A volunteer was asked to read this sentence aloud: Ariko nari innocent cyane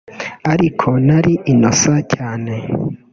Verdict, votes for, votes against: rejected, 1, 2